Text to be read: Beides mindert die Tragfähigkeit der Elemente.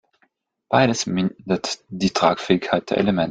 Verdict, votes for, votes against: rejected, 0, 2